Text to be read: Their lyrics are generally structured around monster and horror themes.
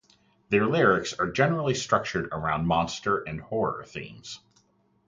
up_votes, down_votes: 4, 0